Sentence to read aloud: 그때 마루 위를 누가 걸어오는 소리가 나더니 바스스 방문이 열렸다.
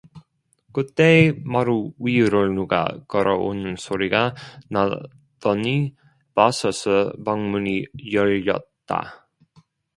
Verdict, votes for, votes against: rejected, 0, 2